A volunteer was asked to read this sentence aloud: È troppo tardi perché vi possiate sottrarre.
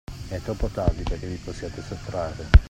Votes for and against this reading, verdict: 2, 0, accepted